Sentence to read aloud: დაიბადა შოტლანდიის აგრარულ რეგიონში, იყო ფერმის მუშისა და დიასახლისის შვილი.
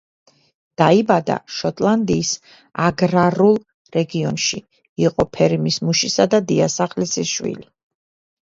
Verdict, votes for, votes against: rejected, 1, 2